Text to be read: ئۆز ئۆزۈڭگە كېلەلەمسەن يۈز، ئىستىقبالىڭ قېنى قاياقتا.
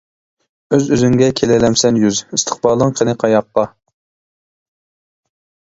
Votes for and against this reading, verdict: 1, 2, rejected